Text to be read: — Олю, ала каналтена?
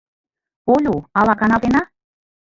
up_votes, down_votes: 1, 2